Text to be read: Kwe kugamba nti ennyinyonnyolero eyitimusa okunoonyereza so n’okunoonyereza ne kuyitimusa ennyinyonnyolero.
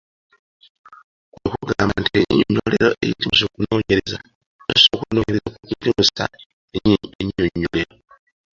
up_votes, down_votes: 0, 2